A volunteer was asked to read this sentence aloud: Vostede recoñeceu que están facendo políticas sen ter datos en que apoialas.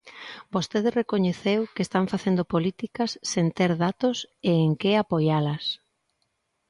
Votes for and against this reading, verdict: 2, 0, accepted